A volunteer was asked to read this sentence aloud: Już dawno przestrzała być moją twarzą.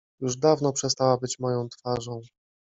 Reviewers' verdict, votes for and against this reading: rejected, 1, 2